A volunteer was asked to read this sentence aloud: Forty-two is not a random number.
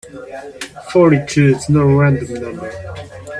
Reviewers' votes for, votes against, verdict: 0, 2, rejected